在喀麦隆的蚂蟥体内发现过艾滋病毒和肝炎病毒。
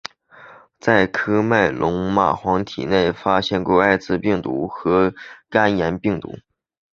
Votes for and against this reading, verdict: 2, 1, accepted